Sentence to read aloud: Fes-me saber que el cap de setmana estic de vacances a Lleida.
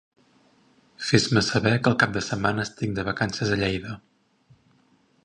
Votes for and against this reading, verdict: 2, 2, rejected